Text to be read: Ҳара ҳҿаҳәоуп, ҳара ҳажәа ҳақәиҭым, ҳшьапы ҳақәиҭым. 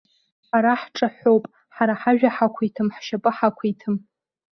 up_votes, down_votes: 2, 0